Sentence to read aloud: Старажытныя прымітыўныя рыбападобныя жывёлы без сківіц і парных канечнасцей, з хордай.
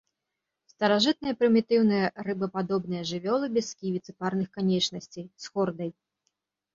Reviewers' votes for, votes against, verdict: 2, 0, accepted